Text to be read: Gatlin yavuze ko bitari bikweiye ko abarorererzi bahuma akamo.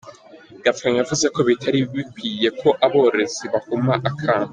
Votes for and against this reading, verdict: 2, 1, accepted